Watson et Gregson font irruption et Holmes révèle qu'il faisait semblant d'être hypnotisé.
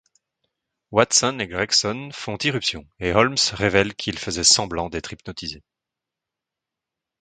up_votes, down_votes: 2, 0